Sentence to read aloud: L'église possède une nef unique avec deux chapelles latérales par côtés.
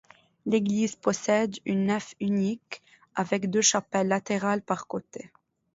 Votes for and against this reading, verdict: 2, 0, accepted